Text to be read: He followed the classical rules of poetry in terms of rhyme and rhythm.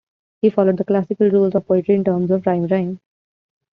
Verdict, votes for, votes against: rejected, 1, 2